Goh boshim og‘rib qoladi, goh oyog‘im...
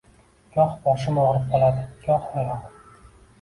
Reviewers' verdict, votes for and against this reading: accepted, 2, 0